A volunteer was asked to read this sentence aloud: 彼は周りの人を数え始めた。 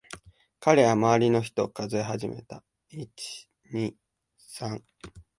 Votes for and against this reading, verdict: 3, 0, accepted